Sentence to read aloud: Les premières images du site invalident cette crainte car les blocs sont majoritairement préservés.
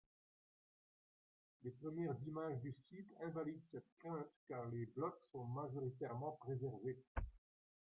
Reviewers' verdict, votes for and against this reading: rejected, 1, 2